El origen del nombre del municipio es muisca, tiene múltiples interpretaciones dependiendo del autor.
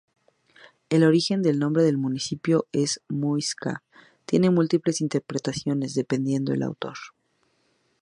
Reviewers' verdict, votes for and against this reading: accepted, 2, 0